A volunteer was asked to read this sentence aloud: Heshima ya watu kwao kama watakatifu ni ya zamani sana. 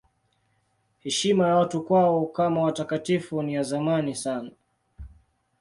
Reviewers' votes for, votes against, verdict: 2, 0, accepted